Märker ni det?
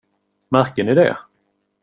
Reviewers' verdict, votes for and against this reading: accepted, 2, 0